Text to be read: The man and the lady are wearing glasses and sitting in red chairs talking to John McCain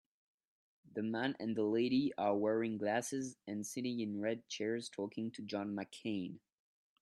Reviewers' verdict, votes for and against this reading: accepted, 2, 0